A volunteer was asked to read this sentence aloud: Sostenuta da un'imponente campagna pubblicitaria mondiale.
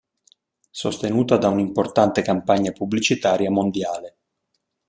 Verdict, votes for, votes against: rejected, 0, 2